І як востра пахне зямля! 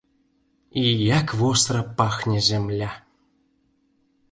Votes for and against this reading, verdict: 2, 0, accepted